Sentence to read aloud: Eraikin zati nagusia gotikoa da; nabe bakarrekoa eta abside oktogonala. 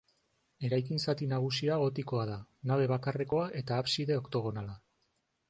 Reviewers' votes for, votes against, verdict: 2, 0, accepted